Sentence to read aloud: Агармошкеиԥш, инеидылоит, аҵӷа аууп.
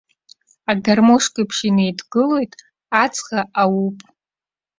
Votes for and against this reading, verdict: 1, 2, rejected